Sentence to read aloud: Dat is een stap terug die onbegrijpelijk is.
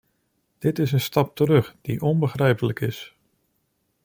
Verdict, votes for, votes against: rejected, 0, 2